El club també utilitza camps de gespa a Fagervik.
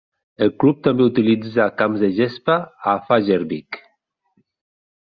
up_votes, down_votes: 3, 0